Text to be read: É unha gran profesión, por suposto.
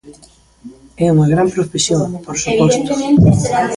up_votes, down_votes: 0, 2